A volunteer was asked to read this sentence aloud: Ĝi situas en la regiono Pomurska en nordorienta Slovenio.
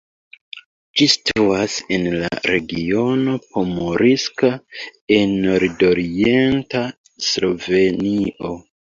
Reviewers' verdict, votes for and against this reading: accepted, 2, 1